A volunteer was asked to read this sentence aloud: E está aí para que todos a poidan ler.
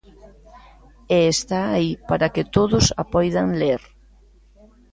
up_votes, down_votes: 2, 1